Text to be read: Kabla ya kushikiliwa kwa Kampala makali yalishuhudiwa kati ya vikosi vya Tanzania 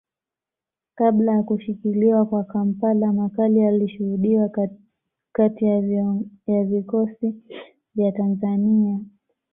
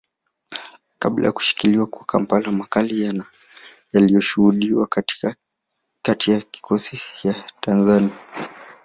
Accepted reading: first